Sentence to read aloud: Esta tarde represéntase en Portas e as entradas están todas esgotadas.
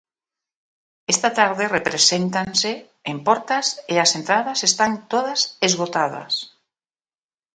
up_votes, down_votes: 1, 2